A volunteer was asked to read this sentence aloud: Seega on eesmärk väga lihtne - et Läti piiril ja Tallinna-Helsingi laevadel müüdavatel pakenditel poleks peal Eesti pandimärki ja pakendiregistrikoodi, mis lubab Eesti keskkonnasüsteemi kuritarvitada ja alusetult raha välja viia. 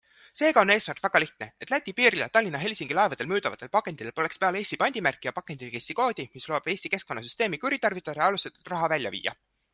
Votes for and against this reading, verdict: 2, 0, accepted